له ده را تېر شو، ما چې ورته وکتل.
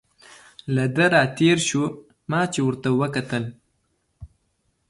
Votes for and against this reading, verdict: 2, 0, accepted